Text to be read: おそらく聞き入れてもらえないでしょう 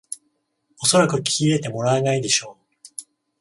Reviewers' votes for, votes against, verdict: 14, 0, accepted